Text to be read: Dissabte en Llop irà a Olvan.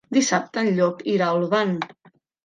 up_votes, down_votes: 3, 0